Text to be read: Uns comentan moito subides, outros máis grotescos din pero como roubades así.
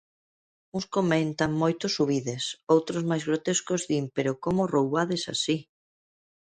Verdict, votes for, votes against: accepted, 2, 0